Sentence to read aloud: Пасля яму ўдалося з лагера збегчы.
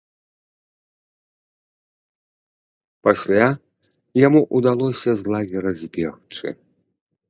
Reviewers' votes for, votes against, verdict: 2, 0, accepted